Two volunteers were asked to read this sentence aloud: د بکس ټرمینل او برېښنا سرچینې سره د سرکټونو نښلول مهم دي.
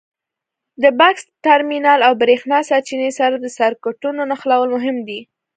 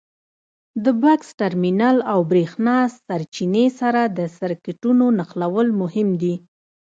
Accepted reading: first